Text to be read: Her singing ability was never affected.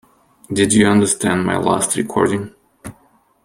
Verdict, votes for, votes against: rejected, 0, 2